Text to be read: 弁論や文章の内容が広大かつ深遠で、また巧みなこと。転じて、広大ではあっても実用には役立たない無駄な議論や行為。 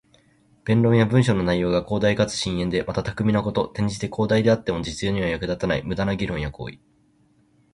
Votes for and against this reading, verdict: 2, 0, accepted